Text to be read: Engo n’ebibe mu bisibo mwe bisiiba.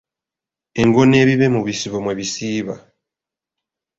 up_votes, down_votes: 2, 0